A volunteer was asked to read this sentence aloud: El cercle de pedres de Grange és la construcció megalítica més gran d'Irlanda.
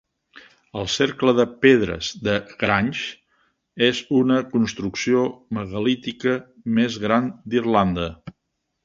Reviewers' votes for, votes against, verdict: 2, 3, rejected